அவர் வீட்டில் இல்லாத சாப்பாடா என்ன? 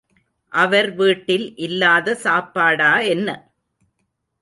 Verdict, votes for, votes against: accepted, 2, 0